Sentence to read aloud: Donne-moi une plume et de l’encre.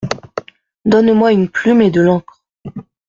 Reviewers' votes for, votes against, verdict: 2, 0, accepted